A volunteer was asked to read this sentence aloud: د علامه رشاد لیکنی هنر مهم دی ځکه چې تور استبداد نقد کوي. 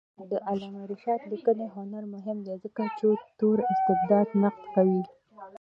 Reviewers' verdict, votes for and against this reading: rejected, 0, 2